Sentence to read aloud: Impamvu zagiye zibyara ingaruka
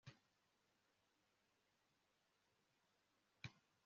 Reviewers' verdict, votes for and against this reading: rejected, 0, 2